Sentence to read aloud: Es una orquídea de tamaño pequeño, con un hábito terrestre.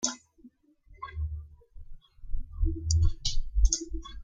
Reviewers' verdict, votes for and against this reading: rejected, 0, 2